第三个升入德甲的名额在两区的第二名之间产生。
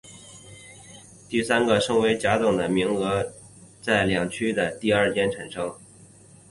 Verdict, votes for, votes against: rejected, 2, 2